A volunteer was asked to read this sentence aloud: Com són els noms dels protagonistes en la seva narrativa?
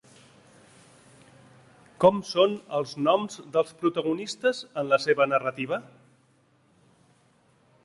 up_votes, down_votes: 2, 0